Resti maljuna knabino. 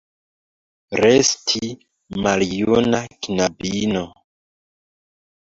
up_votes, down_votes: 2, 0